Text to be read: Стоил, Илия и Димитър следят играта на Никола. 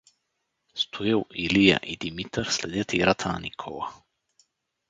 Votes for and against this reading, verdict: 4, 0, accepted